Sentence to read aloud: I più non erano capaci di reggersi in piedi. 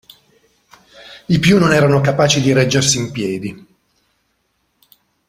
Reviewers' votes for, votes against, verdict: 2, 0, accepted